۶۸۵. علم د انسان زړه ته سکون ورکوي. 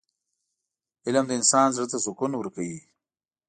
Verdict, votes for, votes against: rejected, 0, 2